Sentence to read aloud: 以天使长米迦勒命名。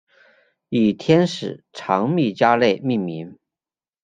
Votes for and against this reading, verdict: 0, 2, rejected